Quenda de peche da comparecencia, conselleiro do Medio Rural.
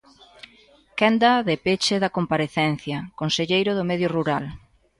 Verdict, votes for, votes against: accepted, 2, 0